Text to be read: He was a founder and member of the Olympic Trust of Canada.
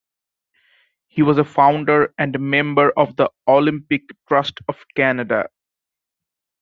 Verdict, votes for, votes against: accepted, 2, 0